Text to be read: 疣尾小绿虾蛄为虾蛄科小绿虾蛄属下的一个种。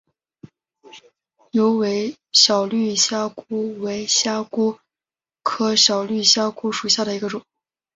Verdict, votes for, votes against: accepted, 2, 1